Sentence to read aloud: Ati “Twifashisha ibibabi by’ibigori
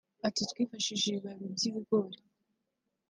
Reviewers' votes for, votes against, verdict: 2, 1, accepted